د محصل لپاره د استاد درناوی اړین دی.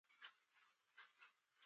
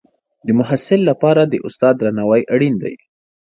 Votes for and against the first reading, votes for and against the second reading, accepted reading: 0, 2, 2, 1, second